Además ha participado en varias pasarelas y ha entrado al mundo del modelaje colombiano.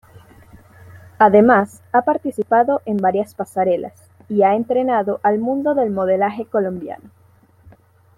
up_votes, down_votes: 0, 2